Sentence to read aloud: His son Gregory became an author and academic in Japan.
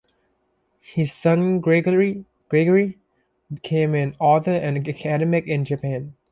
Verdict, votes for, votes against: rejected, 0, 2